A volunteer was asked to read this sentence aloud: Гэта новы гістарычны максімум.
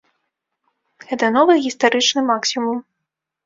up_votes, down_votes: 2, 0